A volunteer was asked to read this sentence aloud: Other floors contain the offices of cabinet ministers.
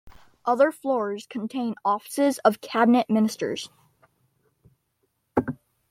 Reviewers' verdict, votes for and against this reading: rejected, 1, 2